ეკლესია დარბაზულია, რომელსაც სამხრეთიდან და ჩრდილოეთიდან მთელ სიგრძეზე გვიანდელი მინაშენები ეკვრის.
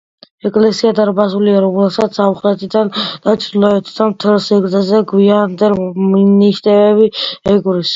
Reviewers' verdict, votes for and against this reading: accepted, 2, 1